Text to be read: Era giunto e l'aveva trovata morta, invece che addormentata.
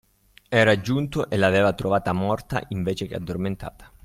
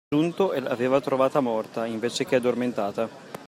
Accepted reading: first